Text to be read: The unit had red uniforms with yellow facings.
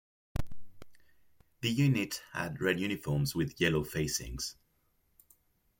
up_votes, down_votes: 2, 0